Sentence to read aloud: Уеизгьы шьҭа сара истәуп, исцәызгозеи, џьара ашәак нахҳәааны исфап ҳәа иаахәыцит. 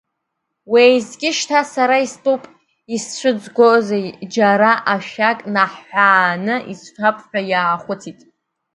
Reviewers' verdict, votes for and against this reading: rejected, 0, 2